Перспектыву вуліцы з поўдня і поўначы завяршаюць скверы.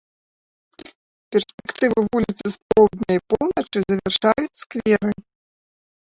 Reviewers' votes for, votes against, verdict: 1, 2, rejected